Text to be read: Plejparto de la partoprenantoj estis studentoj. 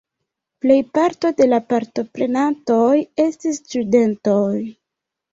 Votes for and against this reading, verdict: 2, 0, accepted